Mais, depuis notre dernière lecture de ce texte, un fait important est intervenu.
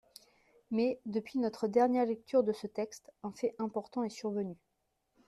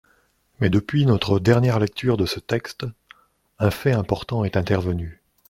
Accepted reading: second